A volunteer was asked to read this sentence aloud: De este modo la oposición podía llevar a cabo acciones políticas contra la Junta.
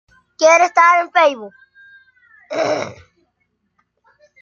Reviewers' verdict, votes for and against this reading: rejected, 0, 2